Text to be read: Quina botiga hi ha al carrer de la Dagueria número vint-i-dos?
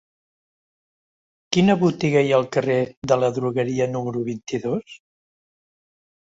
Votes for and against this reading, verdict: 0, 2, rejected